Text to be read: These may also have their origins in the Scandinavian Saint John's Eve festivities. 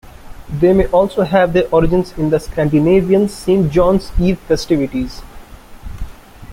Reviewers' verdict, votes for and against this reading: accepted, 2, 0